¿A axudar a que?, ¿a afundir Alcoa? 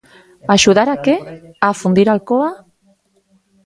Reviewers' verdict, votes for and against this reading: rejected, 2, 4